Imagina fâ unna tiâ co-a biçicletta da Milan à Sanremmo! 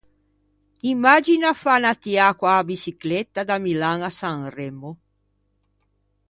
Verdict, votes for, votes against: accepted, 2, 0